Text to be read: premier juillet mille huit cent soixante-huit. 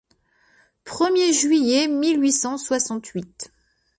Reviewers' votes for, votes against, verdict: 2, 0, accepted